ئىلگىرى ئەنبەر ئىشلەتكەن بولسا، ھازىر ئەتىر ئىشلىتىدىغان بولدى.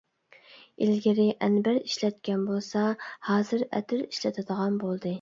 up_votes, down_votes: 2, 0